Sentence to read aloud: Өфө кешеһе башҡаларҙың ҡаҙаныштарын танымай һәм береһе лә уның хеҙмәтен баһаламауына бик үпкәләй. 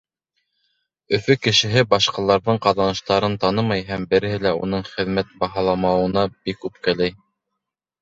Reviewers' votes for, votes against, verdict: 1, 3, rejected